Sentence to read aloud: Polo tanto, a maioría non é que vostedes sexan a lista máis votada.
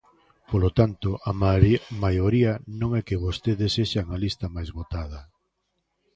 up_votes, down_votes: 0, 2